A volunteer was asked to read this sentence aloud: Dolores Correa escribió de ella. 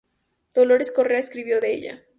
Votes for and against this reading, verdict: 2, 0, accepted